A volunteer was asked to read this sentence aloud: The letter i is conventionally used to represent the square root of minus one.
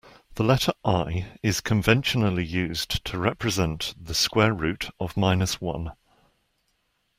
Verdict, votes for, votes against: accepted, 2, 0